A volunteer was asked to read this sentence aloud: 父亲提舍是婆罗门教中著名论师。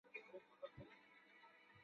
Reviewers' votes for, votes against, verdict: 0, 3, rejected